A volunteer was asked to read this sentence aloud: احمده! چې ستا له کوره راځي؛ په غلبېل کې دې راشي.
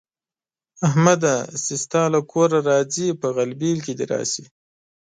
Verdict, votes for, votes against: accepted, 2, 0